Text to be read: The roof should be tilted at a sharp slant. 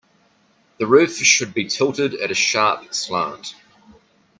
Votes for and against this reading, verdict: 2, 1, accepted